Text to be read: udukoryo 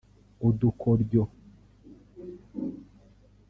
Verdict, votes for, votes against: accepted, 2, 1